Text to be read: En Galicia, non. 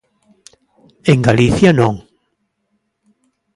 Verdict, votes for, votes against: accepted, 2, 0